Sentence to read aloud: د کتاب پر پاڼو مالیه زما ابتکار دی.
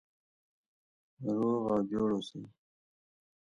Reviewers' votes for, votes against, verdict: 0, 2, rejected